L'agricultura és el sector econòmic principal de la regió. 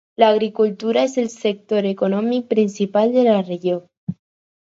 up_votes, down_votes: 4, 0